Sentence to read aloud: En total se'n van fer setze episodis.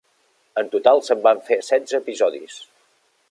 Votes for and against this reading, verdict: 4, 0, accepted